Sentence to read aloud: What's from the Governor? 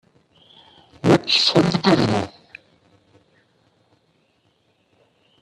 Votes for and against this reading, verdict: 1, 2, rejected